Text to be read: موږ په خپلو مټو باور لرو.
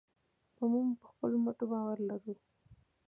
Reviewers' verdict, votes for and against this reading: accepted, 2, 0